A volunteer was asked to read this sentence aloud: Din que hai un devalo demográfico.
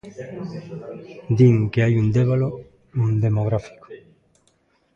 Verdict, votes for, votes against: rejected, 0, 2